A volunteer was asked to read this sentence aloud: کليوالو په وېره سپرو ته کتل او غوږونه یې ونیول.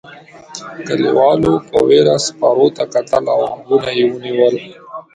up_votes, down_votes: 2, 0